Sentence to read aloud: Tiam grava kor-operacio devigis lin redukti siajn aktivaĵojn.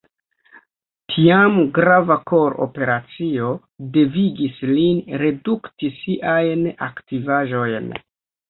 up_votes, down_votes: 0, 2